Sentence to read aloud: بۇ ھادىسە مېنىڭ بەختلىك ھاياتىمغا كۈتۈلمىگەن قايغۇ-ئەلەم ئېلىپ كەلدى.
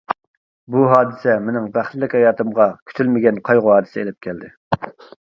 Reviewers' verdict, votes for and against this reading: rejected, 0, 2